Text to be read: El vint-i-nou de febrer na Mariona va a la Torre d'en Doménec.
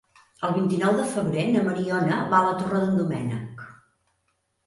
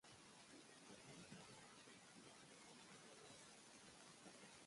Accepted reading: first